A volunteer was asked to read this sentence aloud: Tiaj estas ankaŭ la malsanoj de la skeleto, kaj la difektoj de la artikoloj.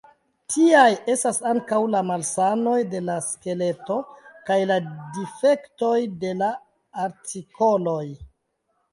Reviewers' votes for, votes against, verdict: 1, 2, rejected